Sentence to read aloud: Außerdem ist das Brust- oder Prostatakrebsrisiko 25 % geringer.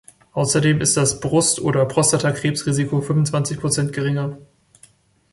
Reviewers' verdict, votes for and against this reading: rejected, 0, 2